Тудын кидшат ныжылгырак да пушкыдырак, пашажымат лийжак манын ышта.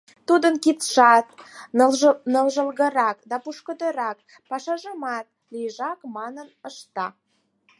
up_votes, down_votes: 0, 4